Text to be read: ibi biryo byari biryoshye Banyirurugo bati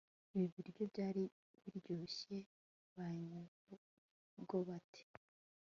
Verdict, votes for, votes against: accepted, 3, 0